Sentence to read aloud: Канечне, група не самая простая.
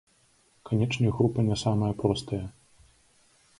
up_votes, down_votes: 1, 2